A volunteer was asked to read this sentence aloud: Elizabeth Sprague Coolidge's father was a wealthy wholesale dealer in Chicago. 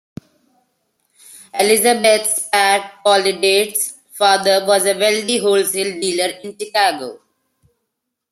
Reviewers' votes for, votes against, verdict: 0, 2, rejected